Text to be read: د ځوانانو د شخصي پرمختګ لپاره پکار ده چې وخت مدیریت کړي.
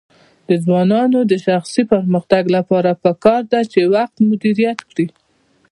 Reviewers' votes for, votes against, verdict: 0, 2, rejected